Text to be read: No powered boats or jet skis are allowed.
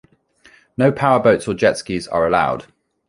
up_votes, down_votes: 2, 0